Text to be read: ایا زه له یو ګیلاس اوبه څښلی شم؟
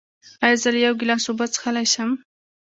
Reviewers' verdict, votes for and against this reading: accepted, 2, 1